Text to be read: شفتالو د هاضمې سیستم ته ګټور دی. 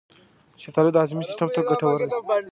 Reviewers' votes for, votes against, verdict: 2, 1, accepted